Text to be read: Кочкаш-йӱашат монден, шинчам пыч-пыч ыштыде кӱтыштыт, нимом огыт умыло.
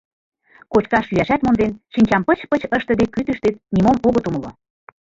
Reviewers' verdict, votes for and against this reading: rejected, 1, 2